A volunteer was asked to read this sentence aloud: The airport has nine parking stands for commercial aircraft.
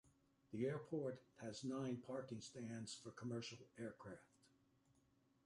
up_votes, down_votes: 2, 0